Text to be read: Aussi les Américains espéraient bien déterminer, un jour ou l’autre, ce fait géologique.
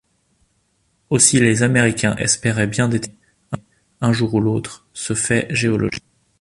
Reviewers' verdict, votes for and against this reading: rejected, 0, 2